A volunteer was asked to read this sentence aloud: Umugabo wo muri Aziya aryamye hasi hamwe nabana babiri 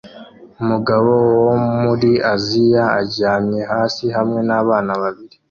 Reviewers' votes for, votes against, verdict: 2, 0, accepted